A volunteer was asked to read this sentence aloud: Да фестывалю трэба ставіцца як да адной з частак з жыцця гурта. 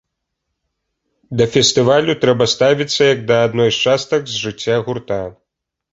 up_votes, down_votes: 2, 0